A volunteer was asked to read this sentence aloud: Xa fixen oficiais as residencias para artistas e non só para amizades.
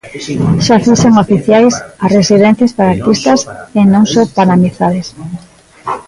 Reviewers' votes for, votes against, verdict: 0, 2, rejected